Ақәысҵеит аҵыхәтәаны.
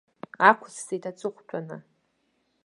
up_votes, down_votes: 2, 1